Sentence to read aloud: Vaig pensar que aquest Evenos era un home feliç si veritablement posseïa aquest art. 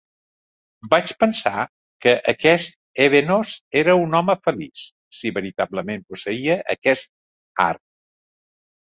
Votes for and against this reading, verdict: 2, 1, accepted